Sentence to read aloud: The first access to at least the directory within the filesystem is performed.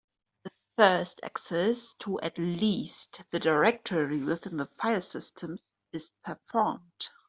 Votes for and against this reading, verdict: 2, 0, accepted